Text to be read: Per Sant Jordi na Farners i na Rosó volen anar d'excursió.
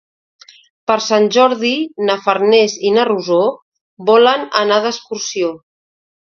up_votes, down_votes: 2, 0